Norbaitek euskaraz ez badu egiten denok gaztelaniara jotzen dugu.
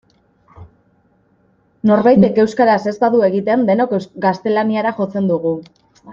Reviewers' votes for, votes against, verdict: 1, 2, rejected